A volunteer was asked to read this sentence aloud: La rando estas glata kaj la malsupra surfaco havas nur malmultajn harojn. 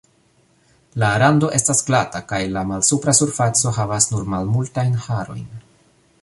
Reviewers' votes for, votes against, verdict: 2, 0, accepted